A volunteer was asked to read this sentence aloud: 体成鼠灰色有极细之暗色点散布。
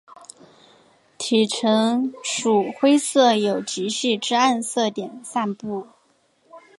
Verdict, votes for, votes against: rejected, 1, 2